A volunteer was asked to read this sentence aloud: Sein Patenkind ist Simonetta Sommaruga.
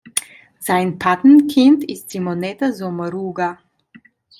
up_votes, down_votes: 2, 1